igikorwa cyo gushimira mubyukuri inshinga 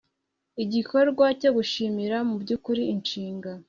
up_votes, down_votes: 2, 0